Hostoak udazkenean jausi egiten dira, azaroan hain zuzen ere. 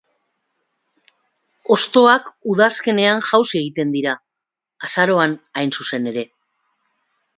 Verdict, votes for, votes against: accepted, 2, 0